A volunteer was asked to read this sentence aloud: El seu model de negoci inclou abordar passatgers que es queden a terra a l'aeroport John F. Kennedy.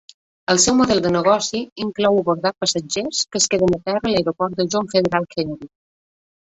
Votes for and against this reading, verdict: 0, 2, rejected